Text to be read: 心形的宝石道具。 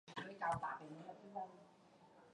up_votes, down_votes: 1, 3